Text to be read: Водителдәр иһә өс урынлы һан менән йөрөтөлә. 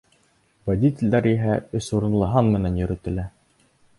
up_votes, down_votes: 3, 0